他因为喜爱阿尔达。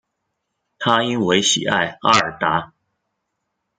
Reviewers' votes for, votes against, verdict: 1, 2, rejected